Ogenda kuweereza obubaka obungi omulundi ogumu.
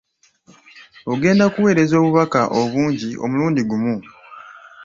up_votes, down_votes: 1, 2